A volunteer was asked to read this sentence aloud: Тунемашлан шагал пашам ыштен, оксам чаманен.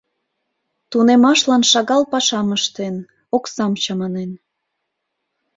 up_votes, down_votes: 2, 0